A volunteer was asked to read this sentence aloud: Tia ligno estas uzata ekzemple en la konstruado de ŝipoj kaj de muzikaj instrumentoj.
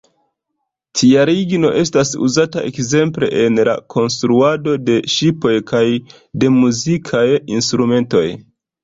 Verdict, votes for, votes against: rejected, 0, 2